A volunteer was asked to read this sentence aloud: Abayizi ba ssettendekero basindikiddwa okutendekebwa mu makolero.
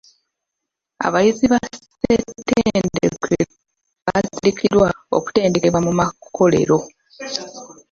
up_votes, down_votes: 0, 2